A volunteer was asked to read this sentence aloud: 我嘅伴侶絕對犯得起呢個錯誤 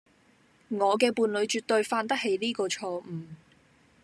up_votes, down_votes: 2, 0